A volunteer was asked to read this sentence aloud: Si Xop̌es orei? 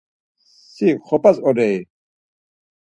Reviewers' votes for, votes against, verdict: 2, 4, rejected